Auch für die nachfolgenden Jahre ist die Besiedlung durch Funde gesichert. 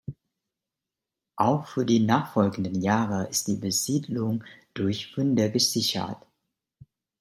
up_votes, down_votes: 2, 0